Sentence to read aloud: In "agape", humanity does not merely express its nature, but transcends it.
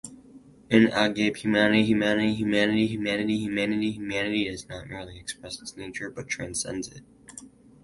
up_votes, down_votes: 0, 4